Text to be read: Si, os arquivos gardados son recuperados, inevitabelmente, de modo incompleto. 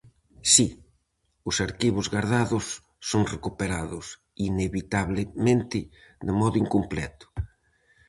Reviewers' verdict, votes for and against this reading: rejected, 0, 4